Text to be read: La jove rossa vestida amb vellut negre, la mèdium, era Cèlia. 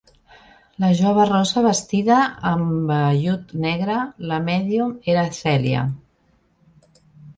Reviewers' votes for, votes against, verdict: 2, 0, accepted